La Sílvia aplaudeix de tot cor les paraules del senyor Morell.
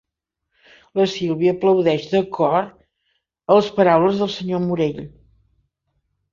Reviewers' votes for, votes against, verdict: 0, 2, rejected